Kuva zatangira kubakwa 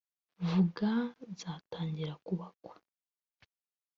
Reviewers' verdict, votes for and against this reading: rejected, 0, 2